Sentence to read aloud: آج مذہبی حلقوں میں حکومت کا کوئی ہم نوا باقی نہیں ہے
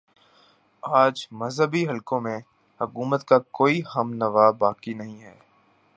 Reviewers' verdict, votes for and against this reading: accepted, 2, 0